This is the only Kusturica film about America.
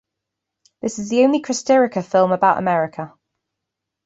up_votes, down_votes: 0, 2